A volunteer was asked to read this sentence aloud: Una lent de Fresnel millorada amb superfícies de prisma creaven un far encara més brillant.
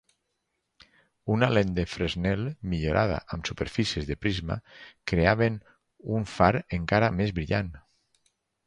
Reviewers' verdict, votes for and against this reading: accepted, 4, 0